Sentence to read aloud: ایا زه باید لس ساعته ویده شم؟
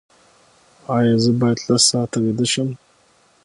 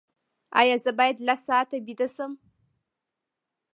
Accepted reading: first